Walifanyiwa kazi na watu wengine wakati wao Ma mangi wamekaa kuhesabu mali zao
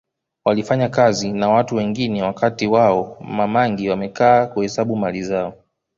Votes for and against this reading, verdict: 1, 2, rejected